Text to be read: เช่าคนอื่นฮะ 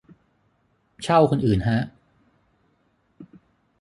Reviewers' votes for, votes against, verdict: 6, 3, accepted